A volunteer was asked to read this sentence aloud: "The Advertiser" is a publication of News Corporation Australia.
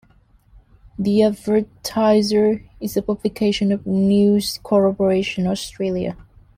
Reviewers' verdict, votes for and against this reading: rejected, 1, 2